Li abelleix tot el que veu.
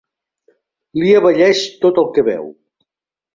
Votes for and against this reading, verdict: 2, 0, accepted